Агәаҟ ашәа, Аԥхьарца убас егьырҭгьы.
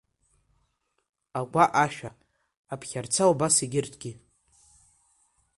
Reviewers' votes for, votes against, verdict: 2, 0, accepted